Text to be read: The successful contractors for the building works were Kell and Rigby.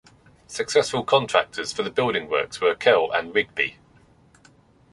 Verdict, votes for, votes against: rejected, 1, 2